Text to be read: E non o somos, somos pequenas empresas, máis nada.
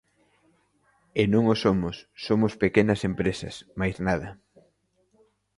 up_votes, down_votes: 2, 0